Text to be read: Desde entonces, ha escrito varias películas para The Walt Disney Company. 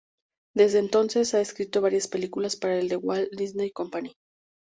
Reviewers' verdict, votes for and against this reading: rejected, 0, 2